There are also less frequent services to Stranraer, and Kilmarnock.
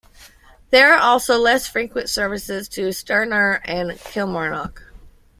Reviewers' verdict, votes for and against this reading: accepted, 2, 0